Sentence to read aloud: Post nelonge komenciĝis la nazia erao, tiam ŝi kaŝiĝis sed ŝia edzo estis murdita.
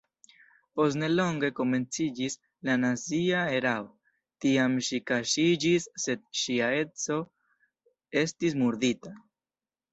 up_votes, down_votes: 2, 1